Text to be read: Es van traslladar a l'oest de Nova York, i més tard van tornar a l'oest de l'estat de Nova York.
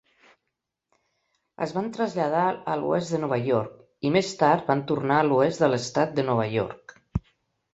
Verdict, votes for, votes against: accepted, 3, 0